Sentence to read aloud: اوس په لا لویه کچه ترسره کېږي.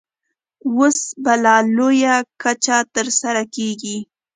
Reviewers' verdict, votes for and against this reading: accepted, 2, 1